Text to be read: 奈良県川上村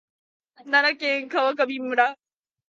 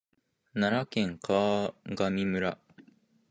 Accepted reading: first